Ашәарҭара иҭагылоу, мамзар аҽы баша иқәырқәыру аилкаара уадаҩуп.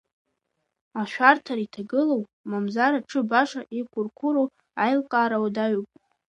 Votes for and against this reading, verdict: 2, 1, accepted